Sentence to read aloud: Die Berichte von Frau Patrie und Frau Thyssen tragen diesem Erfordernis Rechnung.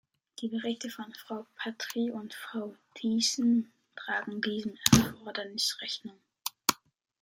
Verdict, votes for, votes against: rejected, 1, 2